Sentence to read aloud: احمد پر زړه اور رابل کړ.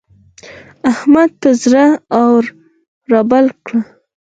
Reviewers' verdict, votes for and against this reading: accepted, 4, 2